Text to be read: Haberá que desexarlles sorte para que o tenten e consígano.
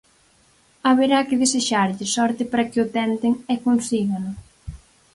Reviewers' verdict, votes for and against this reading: accepted, 4, 0